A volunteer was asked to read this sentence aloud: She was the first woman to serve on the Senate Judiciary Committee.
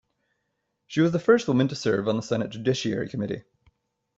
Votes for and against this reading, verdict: 1, 2, rejected